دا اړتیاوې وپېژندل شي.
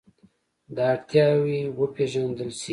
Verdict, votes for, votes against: rejected, 0, 2